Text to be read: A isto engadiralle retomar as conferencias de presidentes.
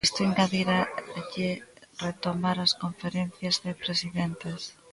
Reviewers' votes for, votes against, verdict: 0, 2, rejected